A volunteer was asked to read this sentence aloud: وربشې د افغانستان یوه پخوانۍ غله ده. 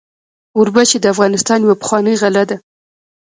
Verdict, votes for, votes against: rejected, 1, 2